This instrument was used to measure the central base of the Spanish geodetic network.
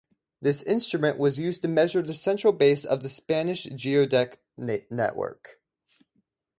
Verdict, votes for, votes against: accepted, 4, 0